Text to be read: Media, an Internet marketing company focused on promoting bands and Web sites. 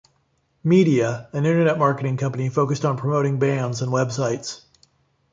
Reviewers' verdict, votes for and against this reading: accepted, 2, 0